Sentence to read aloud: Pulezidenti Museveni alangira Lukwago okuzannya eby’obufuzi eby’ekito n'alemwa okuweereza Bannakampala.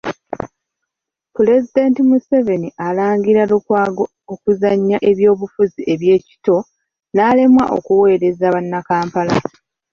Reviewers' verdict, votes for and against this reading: accepted, 2, 0